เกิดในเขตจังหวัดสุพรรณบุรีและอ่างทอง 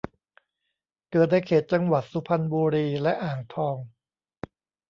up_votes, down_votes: 2, 0